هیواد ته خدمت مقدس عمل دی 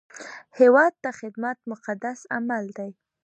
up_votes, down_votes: 3, 0